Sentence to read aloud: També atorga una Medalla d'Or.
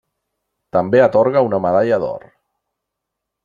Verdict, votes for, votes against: accepted, 3, 0